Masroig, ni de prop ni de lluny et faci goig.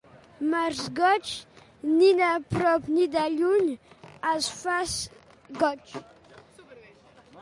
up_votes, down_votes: 0, 2